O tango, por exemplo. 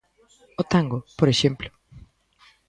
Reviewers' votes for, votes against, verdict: 2, 0, accepted